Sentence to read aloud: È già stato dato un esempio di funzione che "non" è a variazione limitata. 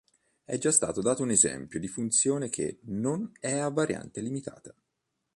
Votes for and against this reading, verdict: 1, 2, rejected